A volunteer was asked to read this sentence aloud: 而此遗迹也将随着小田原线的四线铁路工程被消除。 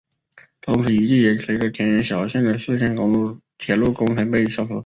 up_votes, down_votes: 0, 4